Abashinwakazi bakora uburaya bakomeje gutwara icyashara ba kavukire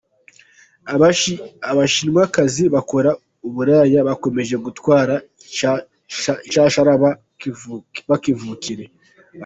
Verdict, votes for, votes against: rejected, 0, 2